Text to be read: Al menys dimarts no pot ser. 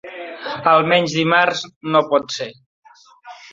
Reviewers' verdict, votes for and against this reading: accepted, 2, 1